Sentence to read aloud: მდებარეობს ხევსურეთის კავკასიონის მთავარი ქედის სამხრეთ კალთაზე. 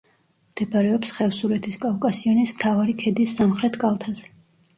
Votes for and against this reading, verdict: 1, 2, rejected